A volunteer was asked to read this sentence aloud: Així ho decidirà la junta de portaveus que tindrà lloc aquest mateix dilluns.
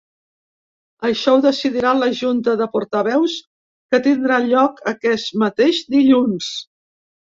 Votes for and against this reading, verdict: 1, 2, rejected